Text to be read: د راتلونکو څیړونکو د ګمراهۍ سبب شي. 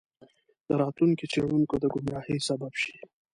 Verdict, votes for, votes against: accepted, 2, 1